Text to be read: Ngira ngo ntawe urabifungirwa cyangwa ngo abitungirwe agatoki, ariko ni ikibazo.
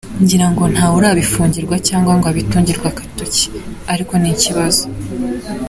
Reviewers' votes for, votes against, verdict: 2, 1, accepted